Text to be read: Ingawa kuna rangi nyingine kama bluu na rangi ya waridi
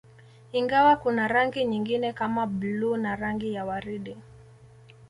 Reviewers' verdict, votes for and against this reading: accepted, 2, 0